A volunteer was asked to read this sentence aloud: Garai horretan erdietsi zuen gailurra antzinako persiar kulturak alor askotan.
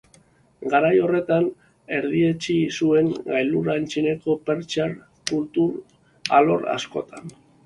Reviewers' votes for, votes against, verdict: 1, 2, rejected